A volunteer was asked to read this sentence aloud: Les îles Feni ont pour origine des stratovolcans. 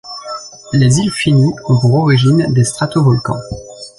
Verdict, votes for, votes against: rejected, 0, 2